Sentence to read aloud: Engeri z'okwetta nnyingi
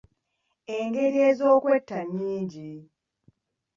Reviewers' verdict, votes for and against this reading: rejected, 1, 2